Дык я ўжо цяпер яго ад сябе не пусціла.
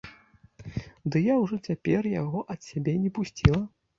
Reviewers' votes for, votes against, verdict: 0, 2, rejected